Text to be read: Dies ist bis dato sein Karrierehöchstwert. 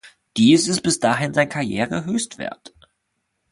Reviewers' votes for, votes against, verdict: 1, 2, rejected